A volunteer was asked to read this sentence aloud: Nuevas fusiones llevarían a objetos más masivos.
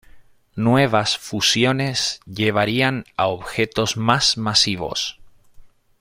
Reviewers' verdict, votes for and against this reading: accepted, 2, 0